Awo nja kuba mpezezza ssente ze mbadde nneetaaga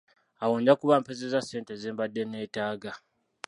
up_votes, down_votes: 1, 2